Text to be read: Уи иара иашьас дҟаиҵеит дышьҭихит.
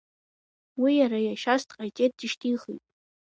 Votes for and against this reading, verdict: 2, 1, accepted